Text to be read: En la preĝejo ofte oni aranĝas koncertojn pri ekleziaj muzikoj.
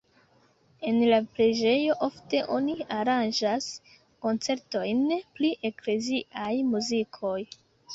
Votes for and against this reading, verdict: 2, 0, accepted